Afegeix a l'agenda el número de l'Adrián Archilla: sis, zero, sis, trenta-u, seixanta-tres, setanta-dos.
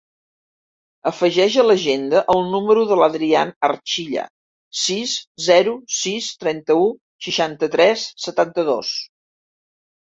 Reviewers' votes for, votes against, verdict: 3, 0, accepted